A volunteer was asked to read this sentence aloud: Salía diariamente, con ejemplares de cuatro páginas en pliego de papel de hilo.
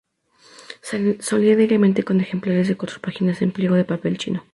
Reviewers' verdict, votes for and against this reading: rejected, 0, 2